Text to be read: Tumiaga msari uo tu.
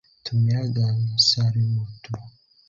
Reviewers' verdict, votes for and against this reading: rejected, 1, 2